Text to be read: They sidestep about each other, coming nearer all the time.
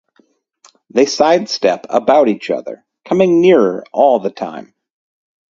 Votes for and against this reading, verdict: 2, 2, rejected